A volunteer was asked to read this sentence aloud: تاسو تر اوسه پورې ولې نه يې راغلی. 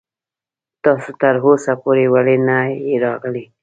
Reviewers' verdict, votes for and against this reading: rejected, 1, 2